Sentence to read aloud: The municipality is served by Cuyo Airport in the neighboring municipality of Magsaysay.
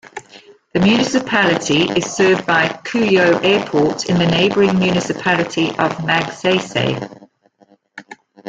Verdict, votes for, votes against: rejected, 0, 2